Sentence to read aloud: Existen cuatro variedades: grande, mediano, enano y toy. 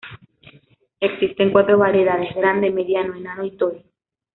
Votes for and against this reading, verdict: 1, 2, rejected